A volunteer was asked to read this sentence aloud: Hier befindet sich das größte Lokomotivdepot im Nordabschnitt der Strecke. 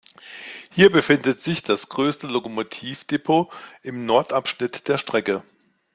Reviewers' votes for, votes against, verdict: 2, 0, accepted